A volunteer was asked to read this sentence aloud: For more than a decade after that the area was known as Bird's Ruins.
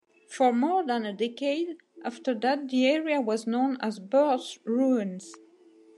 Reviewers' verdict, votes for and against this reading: accepted, 2, 0